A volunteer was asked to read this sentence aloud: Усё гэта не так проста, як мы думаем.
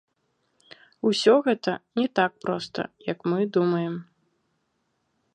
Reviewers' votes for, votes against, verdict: 2, 0, accepted